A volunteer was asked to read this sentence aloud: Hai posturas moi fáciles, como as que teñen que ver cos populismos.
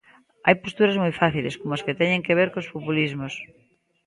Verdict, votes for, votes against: accepted, 2, 0